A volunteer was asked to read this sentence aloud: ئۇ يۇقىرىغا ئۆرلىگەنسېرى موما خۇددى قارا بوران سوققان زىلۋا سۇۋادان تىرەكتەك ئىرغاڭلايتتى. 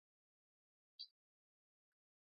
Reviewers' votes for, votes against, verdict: 0, 2, rejected